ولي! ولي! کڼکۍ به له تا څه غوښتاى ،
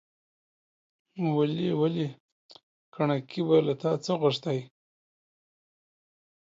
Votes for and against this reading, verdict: 2, 0, accepted